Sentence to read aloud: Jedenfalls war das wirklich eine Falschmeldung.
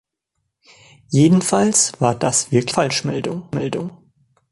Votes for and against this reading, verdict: 0, 2, rejected